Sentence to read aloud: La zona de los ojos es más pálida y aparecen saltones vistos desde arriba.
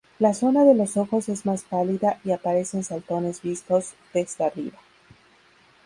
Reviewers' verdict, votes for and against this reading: rejected, 0, 2